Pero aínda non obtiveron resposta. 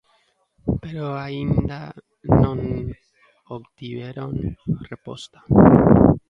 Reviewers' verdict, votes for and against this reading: rejected, 0, 2